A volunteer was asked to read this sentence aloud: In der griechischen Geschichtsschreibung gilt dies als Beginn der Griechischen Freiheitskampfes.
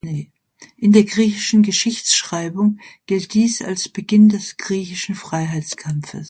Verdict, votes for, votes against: rejected, 0, 2